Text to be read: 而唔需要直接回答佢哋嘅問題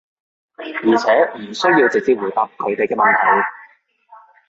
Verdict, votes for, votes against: rejected, 0, 2